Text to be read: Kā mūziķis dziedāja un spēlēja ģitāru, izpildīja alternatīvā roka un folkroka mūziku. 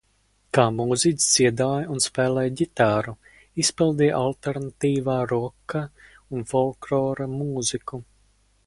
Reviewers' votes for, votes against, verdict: 0, 4, rejected